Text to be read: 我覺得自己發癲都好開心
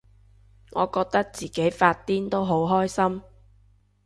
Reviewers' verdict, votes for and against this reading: accepted, 2, 0